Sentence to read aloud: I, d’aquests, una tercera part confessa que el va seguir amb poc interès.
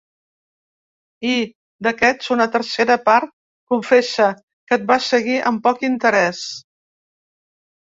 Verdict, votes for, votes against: rejected, 1, 3